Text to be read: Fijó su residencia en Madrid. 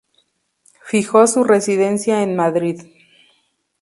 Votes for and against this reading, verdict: 2, 0, accepted